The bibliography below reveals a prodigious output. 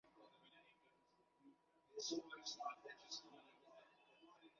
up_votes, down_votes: 0, 2